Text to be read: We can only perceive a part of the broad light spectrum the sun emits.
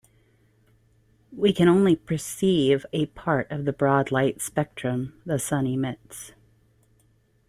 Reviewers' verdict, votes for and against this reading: accepted, 2, 0